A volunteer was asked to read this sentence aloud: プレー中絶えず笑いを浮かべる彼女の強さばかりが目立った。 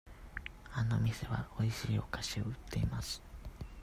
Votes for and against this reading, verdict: 0, 2, rejected